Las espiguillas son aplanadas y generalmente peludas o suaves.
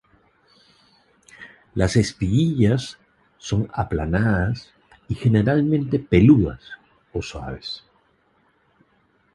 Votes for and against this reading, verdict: 2, 0, accepted